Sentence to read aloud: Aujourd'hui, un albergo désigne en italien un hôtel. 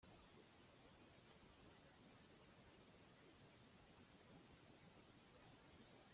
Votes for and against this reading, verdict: 0, 2, rejected